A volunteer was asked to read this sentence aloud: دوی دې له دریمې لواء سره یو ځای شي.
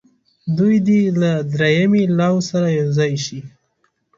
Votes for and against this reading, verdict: 1, 2, rejected